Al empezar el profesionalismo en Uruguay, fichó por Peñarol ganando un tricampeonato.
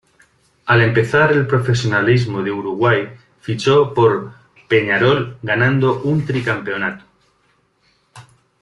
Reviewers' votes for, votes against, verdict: 0, 2, rejected